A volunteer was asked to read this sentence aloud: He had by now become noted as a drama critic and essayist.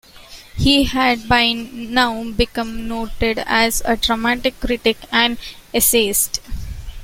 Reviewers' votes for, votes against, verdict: 0, 2, rejected